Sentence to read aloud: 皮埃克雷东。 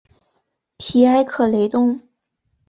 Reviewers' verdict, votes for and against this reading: accepted, 3, 0